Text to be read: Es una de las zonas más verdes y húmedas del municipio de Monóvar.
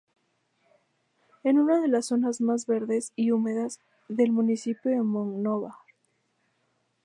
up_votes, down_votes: 0, 2